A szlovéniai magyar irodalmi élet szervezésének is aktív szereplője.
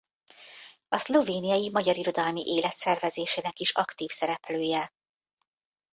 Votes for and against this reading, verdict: 2, 0, accepted